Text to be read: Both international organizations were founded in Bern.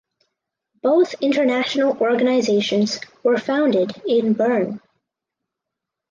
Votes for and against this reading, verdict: 4, 0, accepted